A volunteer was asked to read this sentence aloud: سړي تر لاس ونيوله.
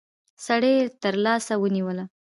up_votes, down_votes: 2, 0